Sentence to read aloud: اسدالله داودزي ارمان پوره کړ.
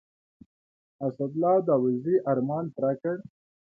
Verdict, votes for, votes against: accepted, 2, 0